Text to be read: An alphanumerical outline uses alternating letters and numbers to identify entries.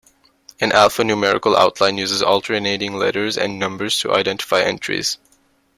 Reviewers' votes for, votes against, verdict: 1, 2, rejected